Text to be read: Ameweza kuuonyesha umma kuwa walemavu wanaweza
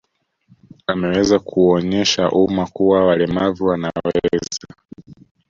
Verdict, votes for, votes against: rejected, 1, 2